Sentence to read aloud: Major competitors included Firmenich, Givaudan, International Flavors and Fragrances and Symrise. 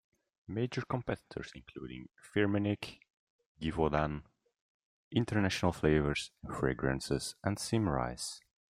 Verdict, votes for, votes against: accepted, 2, 0